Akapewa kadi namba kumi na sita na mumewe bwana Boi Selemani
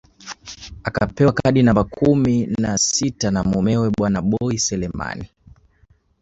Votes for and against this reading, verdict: 1, 2, rejected